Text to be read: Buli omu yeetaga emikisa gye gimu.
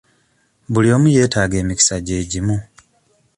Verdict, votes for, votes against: accepted, 2, 0